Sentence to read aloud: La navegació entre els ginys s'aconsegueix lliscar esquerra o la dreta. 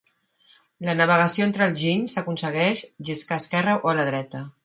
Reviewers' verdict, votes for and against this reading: accepted, 2, 0